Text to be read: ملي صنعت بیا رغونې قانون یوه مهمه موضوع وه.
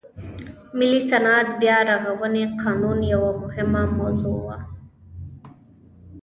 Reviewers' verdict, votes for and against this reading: accepted, 2, 1